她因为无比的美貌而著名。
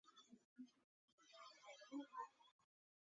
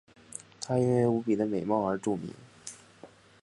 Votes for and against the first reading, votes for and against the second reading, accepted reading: 0, 2, 2, 0, second